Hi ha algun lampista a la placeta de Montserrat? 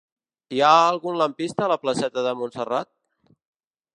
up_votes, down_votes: 3, 0